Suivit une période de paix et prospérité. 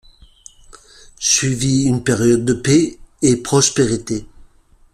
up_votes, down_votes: 2, 1